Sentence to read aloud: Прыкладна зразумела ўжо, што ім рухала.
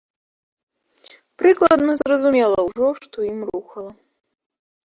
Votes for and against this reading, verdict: 1, 2, rejected